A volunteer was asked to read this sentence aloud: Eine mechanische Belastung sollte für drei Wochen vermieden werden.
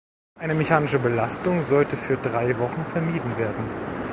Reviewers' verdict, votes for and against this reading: accepted, 2, 1